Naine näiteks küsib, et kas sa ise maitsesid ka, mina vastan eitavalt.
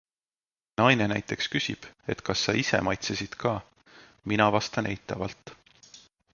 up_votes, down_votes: 2, 0